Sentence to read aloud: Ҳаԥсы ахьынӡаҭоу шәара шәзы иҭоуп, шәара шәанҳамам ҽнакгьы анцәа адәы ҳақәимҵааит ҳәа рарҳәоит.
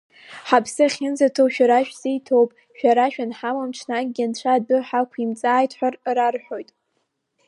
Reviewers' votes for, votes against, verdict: 2, 1, accepted